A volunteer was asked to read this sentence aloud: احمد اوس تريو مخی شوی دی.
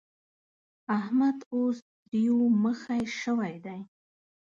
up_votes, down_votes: 2, 0